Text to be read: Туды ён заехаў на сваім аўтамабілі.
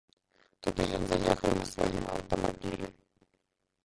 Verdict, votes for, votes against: rejected, 0, 2